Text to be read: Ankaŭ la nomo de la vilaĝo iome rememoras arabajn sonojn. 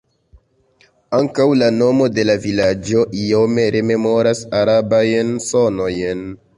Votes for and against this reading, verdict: 2, 0, accepted